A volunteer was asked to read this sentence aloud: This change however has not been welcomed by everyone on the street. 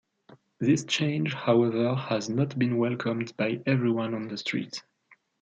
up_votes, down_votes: 2, 1